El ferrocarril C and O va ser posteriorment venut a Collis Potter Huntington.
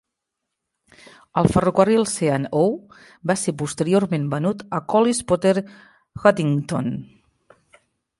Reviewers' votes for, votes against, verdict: 0, 2, rejected